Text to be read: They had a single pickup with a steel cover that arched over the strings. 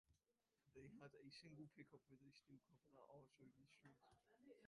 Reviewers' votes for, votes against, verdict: 0, 2, rejected